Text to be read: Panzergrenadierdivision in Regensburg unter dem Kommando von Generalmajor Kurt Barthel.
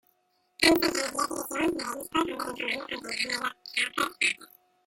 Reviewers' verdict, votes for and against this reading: rejected, 0, 2